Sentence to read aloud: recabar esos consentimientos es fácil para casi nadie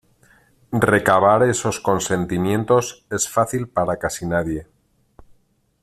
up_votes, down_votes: 2, 0